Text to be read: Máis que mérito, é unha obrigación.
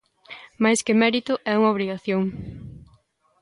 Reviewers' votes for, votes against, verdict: 2, 0, accepted